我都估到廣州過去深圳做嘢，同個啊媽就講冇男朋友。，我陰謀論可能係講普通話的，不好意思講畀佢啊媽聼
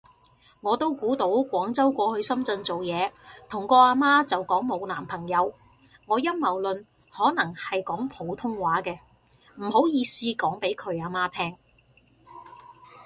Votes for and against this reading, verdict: 0, 2, rejected